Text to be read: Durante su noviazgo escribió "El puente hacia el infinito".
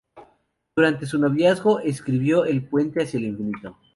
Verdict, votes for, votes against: accepted, 2, 0